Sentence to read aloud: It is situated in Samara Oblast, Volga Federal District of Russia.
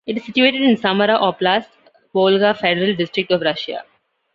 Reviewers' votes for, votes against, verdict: 2, 0, accepted